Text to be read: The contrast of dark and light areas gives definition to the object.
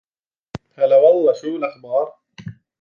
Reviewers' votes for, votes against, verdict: 0, 2, rejected